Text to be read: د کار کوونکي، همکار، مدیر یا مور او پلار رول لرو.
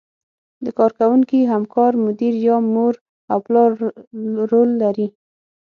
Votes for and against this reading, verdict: 6, 0, accepted